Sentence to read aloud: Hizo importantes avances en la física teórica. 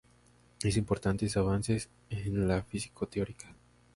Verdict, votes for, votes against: accepted, 2, 0